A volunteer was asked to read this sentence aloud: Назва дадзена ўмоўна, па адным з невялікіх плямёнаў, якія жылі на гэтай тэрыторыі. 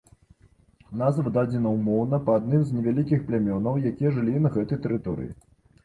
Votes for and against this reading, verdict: 2, 0, accepted